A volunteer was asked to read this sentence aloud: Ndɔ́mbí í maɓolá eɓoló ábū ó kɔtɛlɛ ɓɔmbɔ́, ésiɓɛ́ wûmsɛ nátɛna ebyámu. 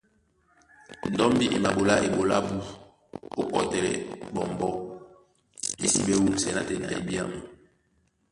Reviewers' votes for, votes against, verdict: 1, 2, rejected